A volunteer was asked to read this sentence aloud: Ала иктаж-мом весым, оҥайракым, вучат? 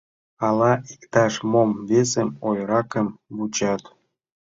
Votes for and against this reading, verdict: 0, 2, rejected